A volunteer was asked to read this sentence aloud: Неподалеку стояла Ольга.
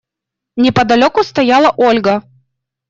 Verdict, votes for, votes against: accepted, 2, 0